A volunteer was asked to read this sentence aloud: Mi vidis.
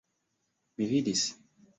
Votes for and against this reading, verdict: 2, 1, accepted